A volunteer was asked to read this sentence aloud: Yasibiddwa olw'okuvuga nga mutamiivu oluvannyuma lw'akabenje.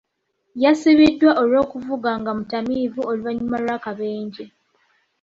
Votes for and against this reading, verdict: 2, 0, accepted